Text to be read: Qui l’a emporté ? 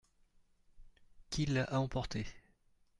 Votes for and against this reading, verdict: 1, 2, rejected